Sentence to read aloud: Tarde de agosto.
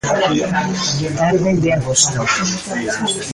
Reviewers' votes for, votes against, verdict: 1, 2, rejected